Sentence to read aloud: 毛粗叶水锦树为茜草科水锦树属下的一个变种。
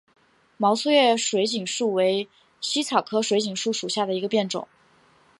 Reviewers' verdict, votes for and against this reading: accepted, 6, 0